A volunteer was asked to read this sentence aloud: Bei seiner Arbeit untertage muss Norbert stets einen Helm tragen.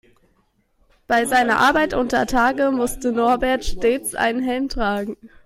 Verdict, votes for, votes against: rejected, 1, 2